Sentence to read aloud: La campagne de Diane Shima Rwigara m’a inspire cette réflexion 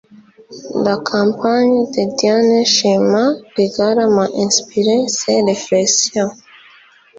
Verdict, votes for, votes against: rejected, 1, 2